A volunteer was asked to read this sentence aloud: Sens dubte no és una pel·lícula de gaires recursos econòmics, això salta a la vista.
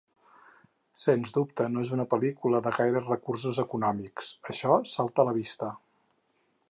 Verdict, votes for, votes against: accepted, 4, 0